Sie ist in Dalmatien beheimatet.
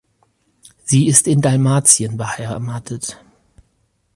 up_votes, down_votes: 2, 4